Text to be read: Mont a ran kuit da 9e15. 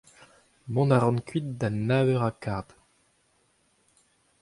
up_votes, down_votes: 0, 2